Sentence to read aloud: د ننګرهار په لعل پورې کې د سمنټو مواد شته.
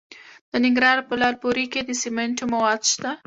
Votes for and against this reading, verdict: 2, 1, accepted